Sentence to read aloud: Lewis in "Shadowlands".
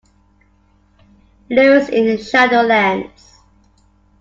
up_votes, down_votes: 2, 0